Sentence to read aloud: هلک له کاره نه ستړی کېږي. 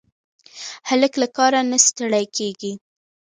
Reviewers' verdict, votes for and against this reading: accepted, 2, 1